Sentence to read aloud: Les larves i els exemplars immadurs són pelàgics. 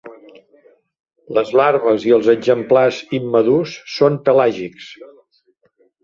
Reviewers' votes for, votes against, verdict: 2, 0, accepted